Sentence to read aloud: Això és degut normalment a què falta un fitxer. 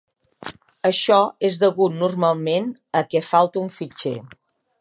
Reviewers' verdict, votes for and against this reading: accepted, 2, 0